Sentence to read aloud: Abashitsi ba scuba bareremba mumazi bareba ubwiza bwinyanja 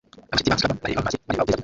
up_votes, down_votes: 0, 2